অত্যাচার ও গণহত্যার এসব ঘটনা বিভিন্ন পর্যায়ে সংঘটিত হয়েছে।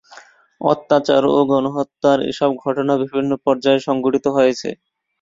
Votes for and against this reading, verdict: 2, 0, accepted